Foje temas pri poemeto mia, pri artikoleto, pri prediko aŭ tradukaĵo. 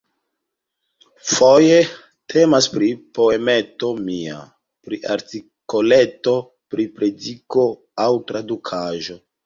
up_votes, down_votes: 1, 2